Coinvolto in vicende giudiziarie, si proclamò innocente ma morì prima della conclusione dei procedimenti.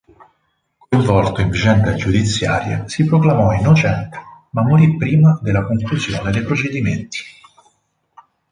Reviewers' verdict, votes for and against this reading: rejected, 0, 4